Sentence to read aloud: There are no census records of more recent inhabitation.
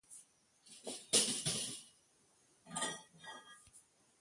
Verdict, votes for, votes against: rejected, 0, 2